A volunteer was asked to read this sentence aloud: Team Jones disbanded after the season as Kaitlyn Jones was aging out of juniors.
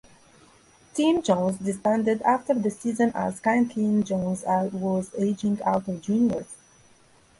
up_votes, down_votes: 1, 2